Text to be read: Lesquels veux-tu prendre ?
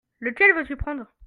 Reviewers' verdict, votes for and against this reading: rejected, 1, 2